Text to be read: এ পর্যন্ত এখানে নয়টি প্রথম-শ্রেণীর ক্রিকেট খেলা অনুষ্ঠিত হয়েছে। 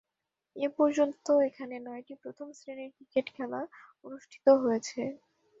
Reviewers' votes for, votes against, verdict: 2, 0, accepted